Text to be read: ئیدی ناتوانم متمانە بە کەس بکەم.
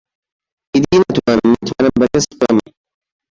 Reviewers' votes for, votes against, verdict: 0, 2, rejected